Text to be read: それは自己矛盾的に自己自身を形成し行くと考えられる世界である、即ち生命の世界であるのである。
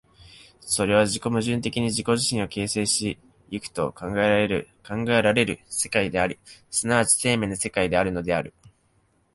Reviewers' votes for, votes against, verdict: 1, 2, rejected